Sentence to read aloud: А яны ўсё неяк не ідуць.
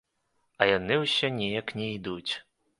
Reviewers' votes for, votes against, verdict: 2, 0, accepted